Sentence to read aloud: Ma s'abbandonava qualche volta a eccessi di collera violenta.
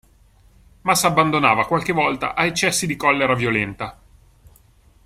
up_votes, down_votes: 2, 0